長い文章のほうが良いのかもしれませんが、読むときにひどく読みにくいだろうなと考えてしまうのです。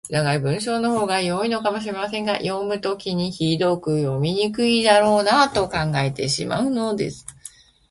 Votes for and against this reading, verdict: 2, 0, accepted